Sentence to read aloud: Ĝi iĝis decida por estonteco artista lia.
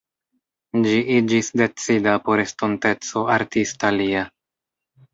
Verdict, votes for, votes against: rejected, 0, 2